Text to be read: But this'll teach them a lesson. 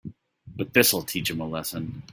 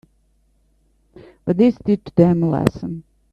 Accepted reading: first